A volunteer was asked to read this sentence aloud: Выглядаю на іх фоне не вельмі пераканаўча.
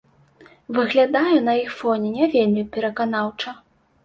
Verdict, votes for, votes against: accepted, 2, 0